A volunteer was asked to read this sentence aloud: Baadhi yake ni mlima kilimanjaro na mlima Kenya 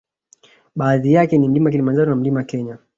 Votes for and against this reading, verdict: 2, 0, accepted